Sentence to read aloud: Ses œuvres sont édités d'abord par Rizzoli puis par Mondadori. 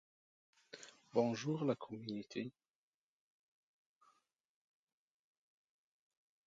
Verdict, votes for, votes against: rejected, 0, 2